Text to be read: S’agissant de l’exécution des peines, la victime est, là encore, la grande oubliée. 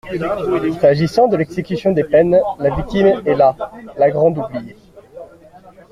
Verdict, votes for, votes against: rejected, 0, 2